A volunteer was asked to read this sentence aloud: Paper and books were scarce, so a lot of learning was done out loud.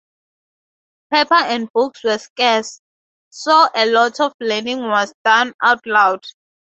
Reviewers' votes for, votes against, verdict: 2, 0, accepted